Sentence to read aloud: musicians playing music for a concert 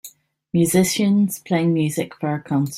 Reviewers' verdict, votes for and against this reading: rejected, 1, 2